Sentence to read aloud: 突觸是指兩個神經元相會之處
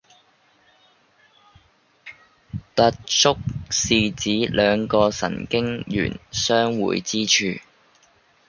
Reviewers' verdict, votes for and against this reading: rejected, 0, 2